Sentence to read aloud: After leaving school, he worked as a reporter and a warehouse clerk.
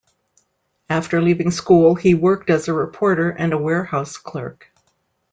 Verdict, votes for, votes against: accepted, 3, 0